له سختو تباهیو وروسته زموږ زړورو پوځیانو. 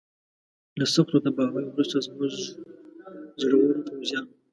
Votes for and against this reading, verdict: 2, 0, accepted